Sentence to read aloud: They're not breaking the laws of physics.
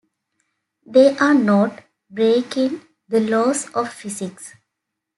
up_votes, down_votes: 0, 2